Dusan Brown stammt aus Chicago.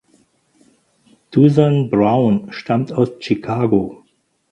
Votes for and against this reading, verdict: 4, 2, accepted